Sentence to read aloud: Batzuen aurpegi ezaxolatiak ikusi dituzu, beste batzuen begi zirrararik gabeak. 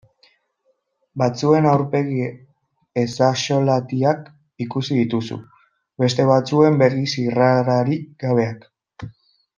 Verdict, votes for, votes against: accepted, 2, 1